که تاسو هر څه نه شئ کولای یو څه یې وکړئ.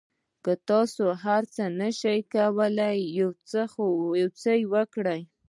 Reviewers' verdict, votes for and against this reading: rejected, 1, 2